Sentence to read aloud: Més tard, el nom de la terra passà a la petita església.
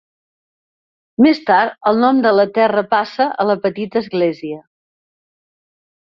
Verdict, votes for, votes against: rejected, 2, 3